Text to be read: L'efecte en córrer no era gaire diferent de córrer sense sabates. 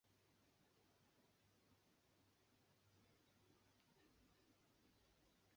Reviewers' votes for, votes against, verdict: 0, 3, rejected